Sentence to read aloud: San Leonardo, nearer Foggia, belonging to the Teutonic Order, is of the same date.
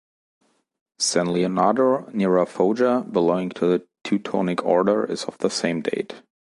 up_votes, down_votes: 1, 2